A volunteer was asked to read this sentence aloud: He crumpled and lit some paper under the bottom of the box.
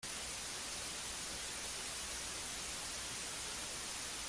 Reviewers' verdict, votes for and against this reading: rejected, 0, 2